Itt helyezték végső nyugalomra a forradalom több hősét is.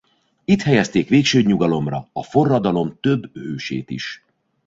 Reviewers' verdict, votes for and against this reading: rejected, 1, 2